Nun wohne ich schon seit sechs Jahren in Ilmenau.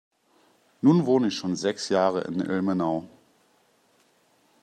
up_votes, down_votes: 0, 2